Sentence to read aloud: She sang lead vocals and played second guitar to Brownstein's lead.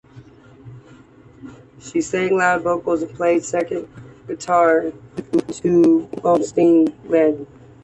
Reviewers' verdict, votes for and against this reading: rejected, 1, 2